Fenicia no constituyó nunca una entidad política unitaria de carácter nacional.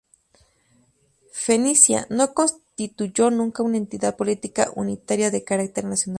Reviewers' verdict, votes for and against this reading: accepted, 4, 0